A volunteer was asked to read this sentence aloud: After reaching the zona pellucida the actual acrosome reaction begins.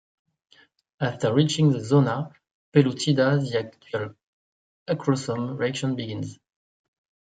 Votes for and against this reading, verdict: 1, 2, rejected